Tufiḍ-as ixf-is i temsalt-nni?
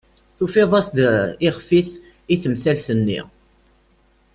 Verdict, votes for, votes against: rejected, 1, 2